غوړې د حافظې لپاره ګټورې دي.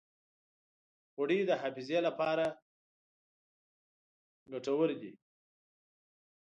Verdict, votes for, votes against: rejected, 1, 2